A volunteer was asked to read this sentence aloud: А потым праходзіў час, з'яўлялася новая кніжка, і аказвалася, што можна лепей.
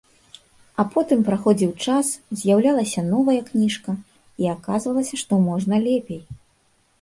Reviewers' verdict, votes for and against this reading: accepted, 2, 0